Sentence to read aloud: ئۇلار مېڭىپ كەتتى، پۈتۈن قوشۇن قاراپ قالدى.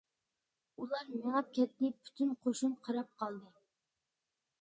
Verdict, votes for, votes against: accepted, 3, 1